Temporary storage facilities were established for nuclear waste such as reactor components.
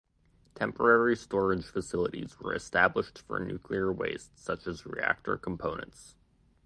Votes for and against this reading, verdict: 2, 0, accepted